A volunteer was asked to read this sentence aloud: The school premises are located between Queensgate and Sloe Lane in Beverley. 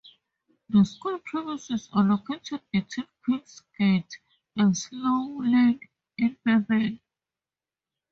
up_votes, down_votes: 0, 2